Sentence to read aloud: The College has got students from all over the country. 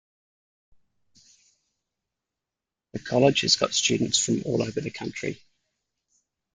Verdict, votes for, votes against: accepted, 2, 0